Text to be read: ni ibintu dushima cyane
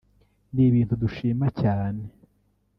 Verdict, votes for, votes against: rejected, 0, 2